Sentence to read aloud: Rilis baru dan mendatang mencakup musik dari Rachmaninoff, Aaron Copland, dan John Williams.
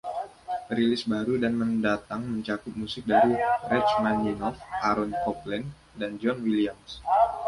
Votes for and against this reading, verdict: 2, 1, accepted